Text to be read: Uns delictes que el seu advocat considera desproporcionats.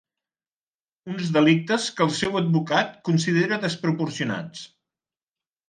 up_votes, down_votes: 2, 0